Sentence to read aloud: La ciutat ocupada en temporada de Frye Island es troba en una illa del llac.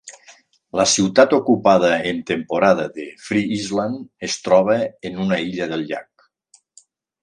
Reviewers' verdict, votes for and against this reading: accepted, 3, 0